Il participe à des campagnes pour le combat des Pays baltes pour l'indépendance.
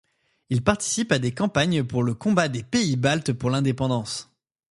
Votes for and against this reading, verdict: 2, 0, accepted